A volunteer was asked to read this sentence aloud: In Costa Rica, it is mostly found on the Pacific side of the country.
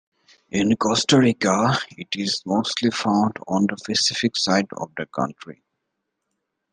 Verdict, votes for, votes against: accepted, 2, 0